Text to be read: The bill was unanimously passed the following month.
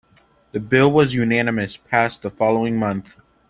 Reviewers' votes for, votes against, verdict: 1, 2, rejected